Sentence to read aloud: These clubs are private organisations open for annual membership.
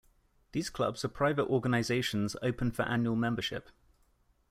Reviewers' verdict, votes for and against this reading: accepted, 2, 0